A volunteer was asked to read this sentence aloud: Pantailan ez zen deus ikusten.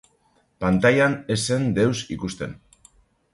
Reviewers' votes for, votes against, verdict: 3, 0, accepted